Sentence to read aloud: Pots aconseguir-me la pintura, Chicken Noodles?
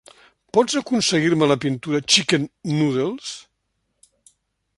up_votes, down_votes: 2, 0